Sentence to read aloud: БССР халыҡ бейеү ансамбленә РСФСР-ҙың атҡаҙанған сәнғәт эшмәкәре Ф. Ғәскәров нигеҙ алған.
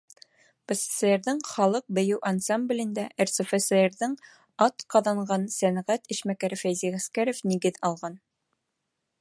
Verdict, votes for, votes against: rejected, 0, 2